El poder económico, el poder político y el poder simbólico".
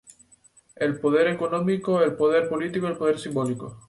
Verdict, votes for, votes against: accepted, 2, 0